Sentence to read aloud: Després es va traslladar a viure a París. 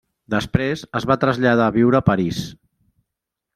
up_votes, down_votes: 3, 0